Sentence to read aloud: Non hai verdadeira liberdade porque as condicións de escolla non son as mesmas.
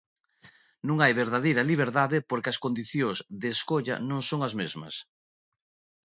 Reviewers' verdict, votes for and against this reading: accepted, 2, 0